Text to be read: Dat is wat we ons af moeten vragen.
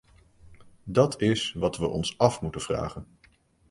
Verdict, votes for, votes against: accepted, 2, 0